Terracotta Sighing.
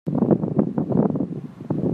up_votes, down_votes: 0, 2